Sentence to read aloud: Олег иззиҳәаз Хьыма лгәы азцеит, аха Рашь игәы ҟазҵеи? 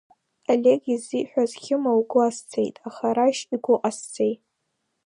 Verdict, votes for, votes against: accepted, 2, 0